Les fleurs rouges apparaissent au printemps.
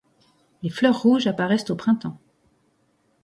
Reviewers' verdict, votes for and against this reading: accepted, 2, 0